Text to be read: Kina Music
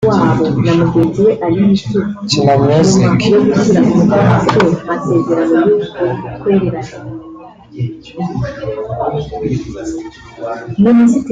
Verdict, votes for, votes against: rejected, 1, 2